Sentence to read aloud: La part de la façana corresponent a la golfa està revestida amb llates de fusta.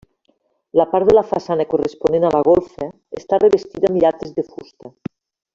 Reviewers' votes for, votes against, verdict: 2, 1, accepted